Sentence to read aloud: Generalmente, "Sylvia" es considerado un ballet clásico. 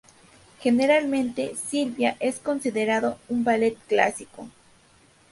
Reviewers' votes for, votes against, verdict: 2, 0, accepted